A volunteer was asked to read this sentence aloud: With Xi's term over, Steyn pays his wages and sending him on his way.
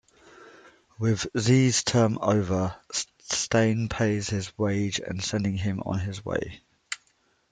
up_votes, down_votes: 1, 2